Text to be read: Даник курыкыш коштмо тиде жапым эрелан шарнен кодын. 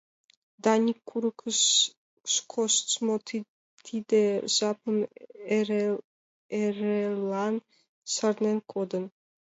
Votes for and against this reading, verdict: 1, 2, rejected